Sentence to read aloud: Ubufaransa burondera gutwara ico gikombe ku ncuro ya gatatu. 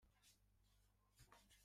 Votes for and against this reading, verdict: 0, 2, rejected